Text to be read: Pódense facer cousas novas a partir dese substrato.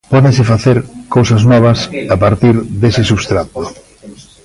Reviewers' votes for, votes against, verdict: 0, 2, rejected